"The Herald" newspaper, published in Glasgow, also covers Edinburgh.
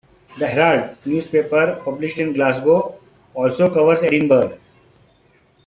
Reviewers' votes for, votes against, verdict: 0, 3, rejected